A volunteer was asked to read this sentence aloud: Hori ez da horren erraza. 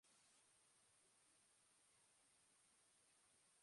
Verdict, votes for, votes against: rejected, 0, 3